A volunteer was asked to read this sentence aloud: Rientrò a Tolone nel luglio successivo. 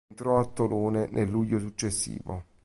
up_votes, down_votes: 0, 2